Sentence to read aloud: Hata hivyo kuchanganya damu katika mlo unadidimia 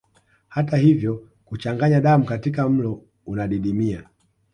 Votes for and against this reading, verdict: 2, 0, accepted